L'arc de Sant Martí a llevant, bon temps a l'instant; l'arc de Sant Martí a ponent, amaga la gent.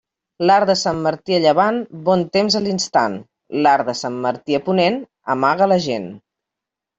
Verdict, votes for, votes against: accepted, 2, 0